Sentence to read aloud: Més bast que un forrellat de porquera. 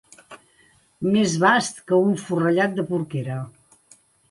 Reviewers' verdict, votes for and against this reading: accepted, 2, 0